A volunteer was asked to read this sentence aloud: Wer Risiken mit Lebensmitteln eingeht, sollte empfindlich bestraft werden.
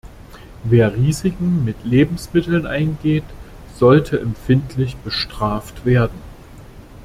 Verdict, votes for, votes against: accepted, 2, 0